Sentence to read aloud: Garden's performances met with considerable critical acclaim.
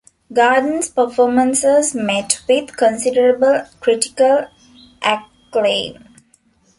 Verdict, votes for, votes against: accepted, 2, 1